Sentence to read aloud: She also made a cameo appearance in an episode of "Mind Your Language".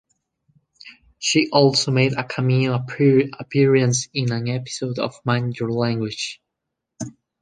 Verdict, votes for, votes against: rejected, 0, 2